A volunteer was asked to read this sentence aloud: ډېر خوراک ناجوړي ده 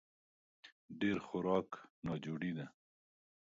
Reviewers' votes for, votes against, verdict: 0, 2, rejected